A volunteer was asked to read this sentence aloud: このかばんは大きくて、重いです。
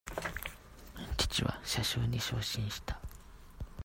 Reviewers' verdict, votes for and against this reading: rejected, 0, 2